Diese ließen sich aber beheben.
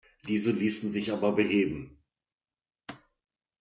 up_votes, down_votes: 2, 1